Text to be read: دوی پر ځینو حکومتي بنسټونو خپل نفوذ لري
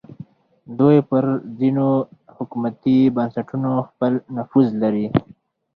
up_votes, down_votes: 4, 0